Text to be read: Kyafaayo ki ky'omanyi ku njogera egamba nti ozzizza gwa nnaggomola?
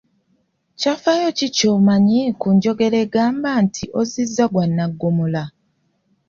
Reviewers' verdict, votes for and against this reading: accepted, 2, 0